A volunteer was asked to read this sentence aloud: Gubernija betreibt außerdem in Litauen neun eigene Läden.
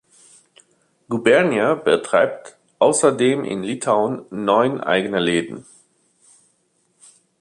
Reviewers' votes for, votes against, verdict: 2, 0, accepted